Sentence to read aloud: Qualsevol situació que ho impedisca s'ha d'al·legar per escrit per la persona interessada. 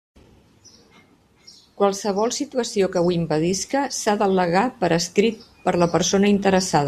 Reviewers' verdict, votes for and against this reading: accepted, 2, 0